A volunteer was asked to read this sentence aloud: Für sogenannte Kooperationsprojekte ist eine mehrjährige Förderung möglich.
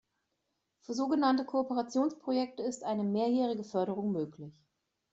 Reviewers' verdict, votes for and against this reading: accepted, 2, 0